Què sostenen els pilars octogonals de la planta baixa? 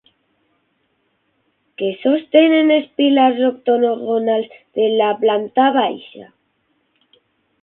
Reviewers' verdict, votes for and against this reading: rejected, 0, 6